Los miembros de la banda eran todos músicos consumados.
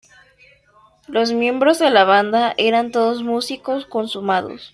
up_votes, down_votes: 2, 0